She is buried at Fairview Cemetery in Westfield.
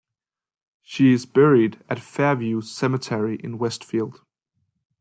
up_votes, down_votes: 2, 0